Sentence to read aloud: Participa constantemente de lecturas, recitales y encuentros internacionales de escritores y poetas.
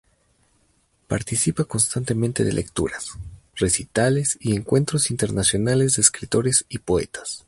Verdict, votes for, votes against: accepted, 2, 0